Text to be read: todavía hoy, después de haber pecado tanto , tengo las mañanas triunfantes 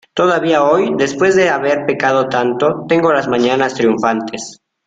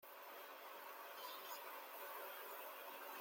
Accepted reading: first